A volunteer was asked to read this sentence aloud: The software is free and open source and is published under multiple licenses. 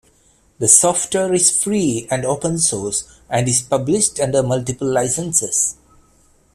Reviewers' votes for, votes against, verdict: 2, 0, accepted